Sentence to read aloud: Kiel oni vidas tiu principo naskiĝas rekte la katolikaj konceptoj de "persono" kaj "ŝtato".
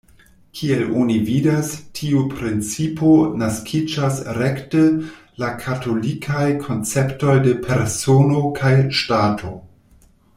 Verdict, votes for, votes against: accepted, 2, 0